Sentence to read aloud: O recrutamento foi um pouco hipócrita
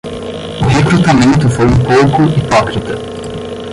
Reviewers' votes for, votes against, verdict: 5, 5, rejected